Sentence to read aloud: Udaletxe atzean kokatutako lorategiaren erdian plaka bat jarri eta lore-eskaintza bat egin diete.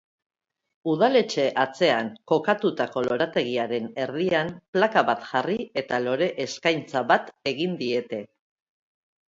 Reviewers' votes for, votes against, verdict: 3, 0, accepted